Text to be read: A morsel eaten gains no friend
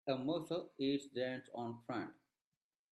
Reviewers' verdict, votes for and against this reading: rejected, 0, 2